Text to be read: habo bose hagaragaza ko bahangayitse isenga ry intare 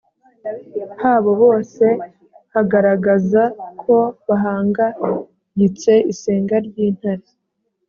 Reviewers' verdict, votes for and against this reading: accepted, 3, 0